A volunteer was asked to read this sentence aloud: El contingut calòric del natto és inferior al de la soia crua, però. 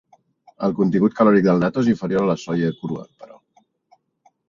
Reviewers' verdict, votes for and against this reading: rejected, 1, 2